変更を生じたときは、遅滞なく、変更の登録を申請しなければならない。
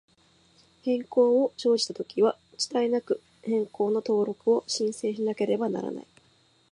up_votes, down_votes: 2, 0